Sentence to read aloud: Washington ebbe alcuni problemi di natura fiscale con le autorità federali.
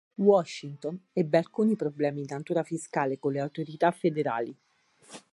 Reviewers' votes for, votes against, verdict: 4, 0, accepted